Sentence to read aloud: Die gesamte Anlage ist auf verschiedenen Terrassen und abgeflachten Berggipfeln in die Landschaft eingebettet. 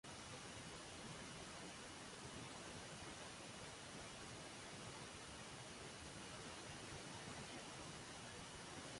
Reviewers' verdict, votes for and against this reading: rejected, 0, 2